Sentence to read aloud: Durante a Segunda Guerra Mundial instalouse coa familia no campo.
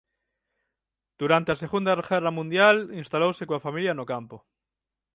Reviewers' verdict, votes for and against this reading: accepted, 6, 3